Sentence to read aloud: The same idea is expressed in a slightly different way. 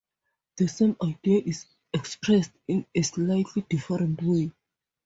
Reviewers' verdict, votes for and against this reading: accepted, 2, 0